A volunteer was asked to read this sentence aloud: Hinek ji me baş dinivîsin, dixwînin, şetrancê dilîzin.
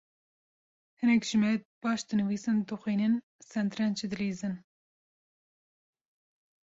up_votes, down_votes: 1, 2